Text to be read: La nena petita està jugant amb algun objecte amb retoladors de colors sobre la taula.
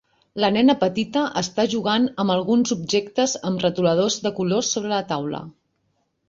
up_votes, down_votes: 1, 2